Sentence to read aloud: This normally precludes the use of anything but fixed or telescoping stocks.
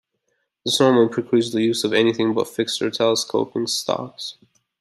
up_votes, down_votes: 2, 0